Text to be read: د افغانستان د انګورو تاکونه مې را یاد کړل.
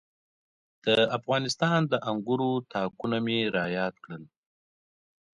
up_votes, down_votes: 2, 0